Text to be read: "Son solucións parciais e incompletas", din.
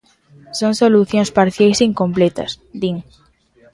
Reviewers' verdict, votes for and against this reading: rejected, 1, 2